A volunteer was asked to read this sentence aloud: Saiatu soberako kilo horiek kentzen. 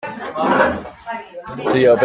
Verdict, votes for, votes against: rejected, 0, 2